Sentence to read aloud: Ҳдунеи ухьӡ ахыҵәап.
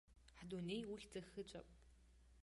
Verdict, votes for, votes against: accepted, 2, 1